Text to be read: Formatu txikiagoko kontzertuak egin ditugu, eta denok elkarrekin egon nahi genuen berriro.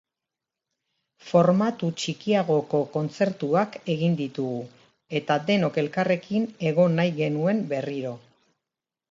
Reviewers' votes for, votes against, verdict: 2, 0, accepted